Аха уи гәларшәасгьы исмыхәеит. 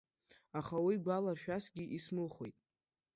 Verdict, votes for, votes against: rejected, 1, 2